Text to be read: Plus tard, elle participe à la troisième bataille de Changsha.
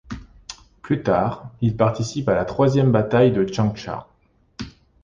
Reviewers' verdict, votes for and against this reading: rejected, 1, 2